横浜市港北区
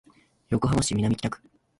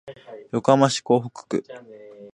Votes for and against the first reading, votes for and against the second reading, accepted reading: 3, 5, 3, 0, second